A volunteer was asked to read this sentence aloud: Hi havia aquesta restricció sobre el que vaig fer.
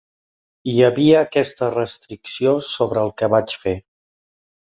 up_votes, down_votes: 3, 0